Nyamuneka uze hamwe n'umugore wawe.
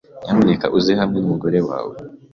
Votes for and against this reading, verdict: 2, 1, accepted